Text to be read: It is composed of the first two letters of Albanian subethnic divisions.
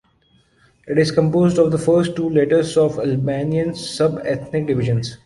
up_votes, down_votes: 2, 0